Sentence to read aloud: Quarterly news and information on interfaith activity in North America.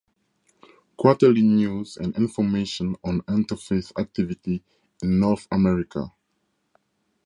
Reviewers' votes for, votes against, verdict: 4, 0, accepted